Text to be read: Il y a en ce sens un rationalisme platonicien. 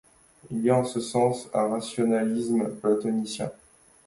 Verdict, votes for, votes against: accepted, 2, 1